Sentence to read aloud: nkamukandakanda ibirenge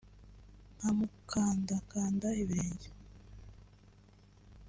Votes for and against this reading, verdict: 2, 1, accepted